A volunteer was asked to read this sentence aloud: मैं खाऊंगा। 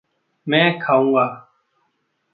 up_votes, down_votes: 1, 2